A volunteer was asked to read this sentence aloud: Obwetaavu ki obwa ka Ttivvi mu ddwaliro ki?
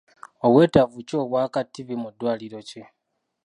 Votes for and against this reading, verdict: 2, 0, accepted